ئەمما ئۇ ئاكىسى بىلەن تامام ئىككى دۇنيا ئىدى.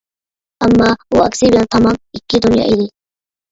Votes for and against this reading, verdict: 0, 2, rejected